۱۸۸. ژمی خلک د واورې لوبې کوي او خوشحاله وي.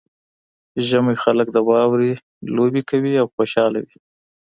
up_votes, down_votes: 0, 2